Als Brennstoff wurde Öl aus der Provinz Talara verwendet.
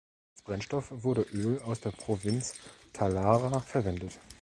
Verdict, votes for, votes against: rejected, 1, 2